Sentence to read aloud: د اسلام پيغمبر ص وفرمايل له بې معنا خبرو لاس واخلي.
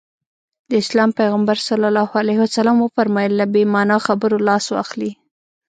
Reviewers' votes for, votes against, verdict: 1, 2, rejected